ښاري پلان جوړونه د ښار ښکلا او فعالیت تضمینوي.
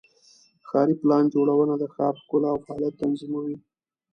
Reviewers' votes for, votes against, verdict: 0, 2, rejected